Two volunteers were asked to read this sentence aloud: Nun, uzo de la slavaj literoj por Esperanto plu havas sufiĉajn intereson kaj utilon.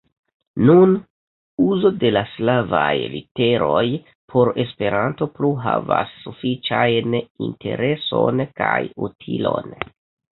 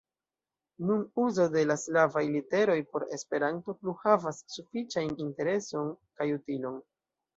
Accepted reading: first